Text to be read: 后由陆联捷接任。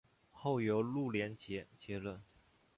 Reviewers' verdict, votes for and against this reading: accepted, 4, 1